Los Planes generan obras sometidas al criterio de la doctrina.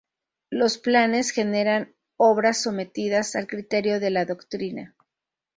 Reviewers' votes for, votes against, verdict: 0, 2, rejected